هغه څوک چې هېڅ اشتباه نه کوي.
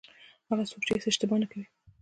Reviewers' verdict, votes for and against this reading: accepted, 2, 0